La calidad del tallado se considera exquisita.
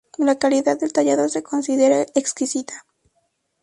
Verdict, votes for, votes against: accepted, 2, 0